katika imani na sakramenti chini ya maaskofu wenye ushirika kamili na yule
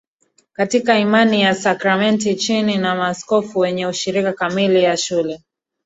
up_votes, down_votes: 1, 2